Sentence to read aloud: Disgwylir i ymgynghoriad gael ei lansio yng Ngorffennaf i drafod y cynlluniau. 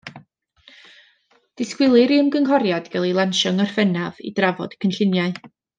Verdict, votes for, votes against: rejected, 1, 2